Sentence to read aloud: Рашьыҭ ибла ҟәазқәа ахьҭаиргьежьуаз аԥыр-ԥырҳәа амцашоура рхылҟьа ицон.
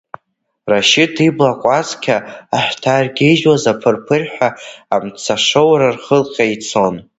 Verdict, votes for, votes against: rejected, 0, 2